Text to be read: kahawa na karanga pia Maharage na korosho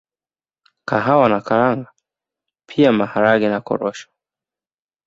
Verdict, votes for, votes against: accepted, 3, 0